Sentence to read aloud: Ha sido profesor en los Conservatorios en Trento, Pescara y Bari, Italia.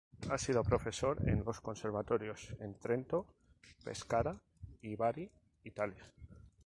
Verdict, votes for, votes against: accepted, 2, 0